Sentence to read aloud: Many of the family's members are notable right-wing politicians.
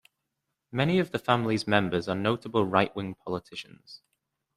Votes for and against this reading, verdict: 2, 0, accepted